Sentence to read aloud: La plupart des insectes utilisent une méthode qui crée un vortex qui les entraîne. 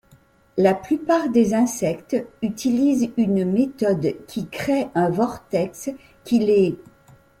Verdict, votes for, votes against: rejected, 1, 2